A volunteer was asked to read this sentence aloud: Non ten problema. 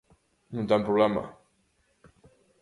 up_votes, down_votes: 2, 0